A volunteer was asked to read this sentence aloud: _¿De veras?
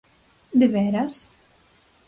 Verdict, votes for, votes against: accepted, 4, 0